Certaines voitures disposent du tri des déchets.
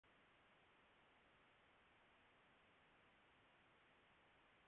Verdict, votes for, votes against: rejected, 0, 2